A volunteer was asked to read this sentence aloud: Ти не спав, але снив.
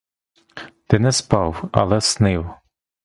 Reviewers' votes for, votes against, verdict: 1, 2, rejected